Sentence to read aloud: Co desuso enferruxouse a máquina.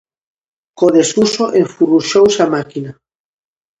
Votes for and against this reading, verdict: 0, 2, rejected